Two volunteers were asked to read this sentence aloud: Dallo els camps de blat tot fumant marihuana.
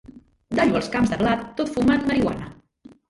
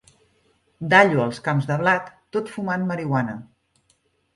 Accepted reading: second